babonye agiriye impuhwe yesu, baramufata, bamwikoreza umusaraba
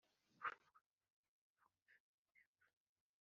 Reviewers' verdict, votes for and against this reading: rejected, 0, 2